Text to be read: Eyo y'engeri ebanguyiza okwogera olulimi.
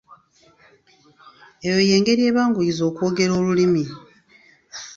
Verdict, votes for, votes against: accepted, 2, 0